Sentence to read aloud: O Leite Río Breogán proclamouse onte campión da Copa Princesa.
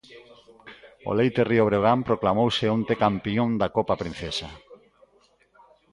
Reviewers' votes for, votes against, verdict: 1, 2, rejected